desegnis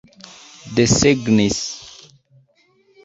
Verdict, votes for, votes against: accepted, 2, 0